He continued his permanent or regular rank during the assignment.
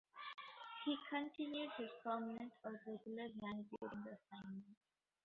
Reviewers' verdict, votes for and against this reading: rejected, 0, 2